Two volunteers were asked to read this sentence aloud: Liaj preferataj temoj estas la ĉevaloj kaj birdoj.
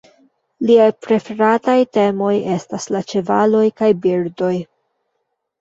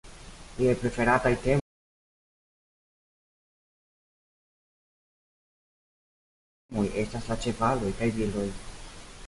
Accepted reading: first